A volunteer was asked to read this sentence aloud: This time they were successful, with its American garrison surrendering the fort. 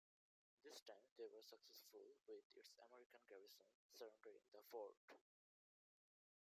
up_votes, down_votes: 2, 1